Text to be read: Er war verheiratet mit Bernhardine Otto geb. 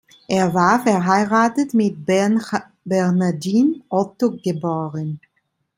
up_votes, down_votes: 0, 2